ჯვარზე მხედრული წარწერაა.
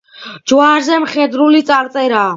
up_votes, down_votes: 2, 0